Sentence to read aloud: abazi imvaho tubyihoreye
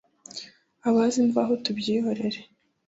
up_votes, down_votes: 1, 2